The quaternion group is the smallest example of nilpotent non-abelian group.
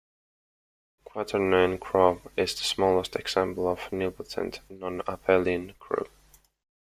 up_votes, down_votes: 0, 2